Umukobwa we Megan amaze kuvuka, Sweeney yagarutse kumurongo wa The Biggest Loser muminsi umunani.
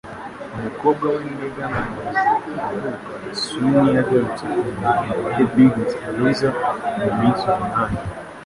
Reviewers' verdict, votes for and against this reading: rejected, 0, 2